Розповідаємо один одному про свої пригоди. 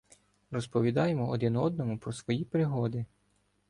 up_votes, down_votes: 2, 0